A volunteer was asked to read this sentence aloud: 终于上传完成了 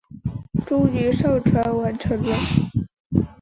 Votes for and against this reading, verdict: 3, 0, accepted